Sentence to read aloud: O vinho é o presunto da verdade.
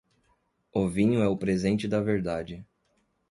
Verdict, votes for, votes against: rejected, 0, 2